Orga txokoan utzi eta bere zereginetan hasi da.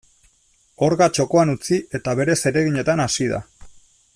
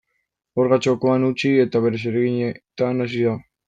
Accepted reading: first